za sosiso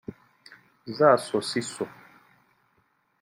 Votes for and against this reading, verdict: 2, 0, accepted